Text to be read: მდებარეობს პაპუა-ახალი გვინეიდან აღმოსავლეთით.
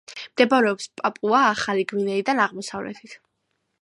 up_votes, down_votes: 2, 0